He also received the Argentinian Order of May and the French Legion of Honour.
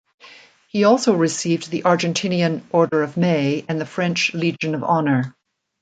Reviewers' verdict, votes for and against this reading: accepted, 2, 0